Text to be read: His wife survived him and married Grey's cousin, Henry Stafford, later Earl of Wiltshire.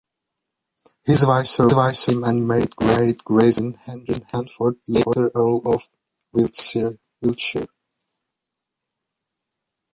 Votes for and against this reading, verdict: 0, 2, rejected